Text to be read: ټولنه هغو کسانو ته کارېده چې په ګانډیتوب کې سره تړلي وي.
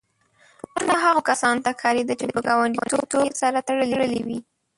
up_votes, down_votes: 1, 2